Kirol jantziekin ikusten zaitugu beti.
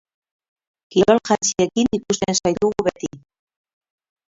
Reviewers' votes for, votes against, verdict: 2, 4, rejected